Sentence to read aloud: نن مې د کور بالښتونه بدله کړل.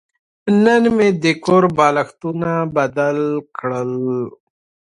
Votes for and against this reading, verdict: 2, 0, accepted